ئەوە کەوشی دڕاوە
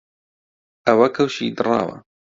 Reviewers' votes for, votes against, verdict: 2, 0, accepted